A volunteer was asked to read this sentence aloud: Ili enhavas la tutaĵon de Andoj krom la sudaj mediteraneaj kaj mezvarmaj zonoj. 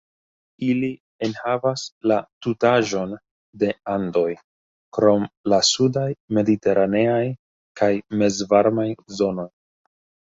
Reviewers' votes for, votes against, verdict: 2, 0, accepted